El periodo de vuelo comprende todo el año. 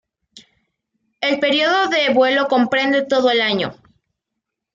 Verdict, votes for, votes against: accepted, 2, 0